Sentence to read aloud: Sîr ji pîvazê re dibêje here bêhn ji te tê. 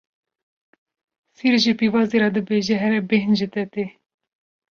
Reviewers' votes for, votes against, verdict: 2, 0, accepted